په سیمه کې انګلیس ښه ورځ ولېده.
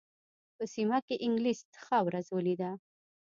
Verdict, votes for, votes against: accepted, 2, 0